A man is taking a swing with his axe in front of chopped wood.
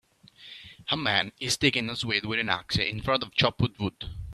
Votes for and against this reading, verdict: 0, 2, rejected